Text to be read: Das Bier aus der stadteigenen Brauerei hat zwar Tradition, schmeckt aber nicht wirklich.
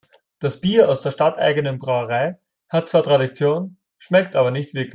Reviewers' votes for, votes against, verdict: 0, 2, rejected